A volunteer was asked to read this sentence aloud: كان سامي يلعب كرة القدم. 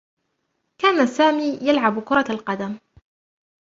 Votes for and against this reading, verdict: 0, 2, rejected